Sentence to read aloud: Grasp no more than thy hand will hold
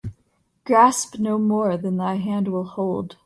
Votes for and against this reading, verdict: 3, 0, accepted